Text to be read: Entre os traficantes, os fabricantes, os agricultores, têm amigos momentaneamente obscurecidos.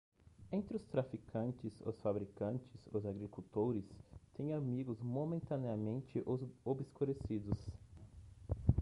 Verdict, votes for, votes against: rejected, 1, 2